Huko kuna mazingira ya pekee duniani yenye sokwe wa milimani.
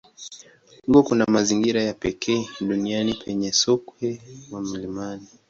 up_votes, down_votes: 3, 0